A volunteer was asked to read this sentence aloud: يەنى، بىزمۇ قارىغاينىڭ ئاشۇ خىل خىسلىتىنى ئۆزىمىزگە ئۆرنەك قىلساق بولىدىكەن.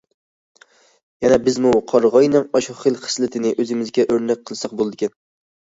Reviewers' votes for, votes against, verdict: 2, 1, accepted